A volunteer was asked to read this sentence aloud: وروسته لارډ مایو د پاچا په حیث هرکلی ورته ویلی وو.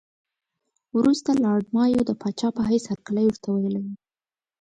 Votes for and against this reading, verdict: 2, 0, accepted